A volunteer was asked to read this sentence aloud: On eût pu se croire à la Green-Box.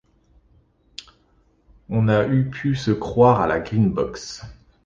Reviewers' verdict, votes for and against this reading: rejected, 0, 2